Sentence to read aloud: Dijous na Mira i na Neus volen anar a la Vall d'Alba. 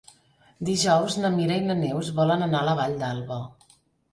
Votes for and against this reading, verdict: 4, 0, accepted